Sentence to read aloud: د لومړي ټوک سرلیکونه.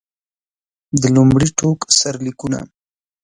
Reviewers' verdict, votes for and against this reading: accepted, 2, 0